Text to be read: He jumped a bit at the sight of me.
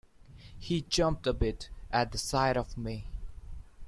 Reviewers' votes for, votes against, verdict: 2, 0, accepted